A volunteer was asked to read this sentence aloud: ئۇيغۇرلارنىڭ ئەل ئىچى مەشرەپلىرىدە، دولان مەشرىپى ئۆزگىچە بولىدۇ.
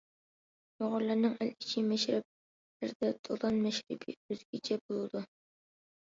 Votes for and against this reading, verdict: 1, 2, rejected